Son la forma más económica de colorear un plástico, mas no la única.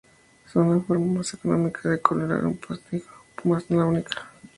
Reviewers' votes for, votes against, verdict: 0, 2, rejected